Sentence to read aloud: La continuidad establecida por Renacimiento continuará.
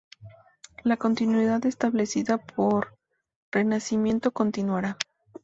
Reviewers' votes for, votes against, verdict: 2, 0, accepted